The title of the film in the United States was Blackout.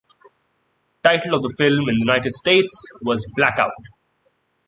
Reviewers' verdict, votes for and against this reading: accepted, 2, 0